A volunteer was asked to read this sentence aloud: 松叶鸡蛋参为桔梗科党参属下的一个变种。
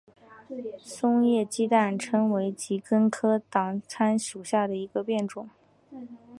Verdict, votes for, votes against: accepted, 2, 1